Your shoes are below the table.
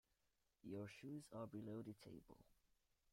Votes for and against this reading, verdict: 1, 2, rejected